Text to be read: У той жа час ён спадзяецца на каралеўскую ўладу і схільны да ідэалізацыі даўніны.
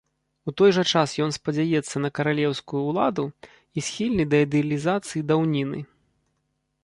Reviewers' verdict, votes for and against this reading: rejected, 0, 2